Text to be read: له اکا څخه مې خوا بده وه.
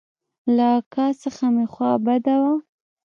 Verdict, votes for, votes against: rejected, 1, 2